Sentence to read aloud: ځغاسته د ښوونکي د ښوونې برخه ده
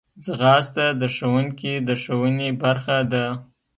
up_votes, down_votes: 2, 0